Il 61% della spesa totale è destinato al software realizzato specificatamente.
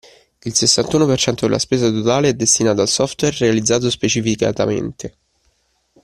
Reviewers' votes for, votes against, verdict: 0, 2, rejected